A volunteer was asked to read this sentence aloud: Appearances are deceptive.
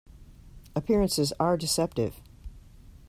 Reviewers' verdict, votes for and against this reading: accepted, 2, 0